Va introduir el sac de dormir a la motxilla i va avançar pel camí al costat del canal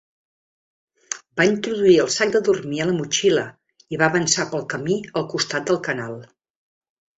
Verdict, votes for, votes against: rejected, 0, 2